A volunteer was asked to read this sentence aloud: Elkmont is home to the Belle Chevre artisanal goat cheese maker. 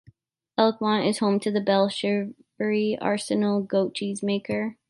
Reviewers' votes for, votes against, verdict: 0, 2, rejected